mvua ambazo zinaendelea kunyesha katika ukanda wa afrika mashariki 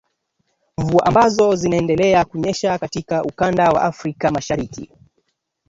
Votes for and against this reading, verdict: 1, 2, rejected